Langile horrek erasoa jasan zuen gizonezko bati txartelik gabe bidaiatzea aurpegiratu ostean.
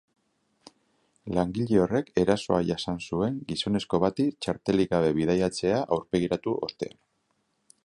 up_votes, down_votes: 9, 0